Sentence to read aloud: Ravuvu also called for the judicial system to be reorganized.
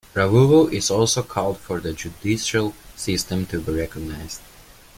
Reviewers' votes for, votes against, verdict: 1, 2, rejected